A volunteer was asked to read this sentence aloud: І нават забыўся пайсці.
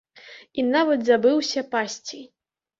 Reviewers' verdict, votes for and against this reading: rejected, 0, 2